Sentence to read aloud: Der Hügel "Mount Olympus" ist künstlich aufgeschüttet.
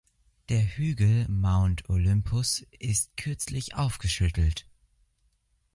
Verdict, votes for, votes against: rejected, 0, 2